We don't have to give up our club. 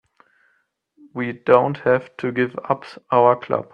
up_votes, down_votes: 1, 2